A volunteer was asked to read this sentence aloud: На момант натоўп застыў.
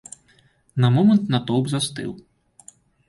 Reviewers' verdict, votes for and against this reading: accepted, 2, 0